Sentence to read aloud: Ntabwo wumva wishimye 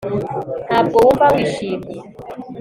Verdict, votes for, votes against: accepted, 3, 0